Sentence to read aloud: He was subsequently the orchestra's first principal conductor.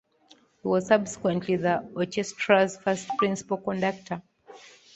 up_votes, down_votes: 1, 2